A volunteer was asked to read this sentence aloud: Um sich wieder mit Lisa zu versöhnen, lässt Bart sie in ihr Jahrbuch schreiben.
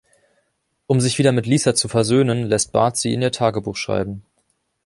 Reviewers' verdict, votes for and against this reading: rejected, 1, 2